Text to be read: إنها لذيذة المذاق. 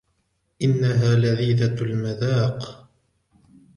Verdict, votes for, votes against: rejected, 1, 2